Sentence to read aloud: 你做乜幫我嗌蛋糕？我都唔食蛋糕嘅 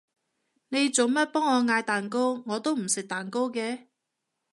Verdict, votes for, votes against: accepted, 2, 0